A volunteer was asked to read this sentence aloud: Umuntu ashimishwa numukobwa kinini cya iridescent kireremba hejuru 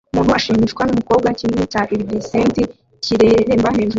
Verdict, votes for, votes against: rejected, 0, 2